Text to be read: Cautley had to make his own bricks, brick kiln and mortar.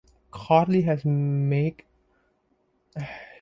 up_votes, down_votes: 0, 2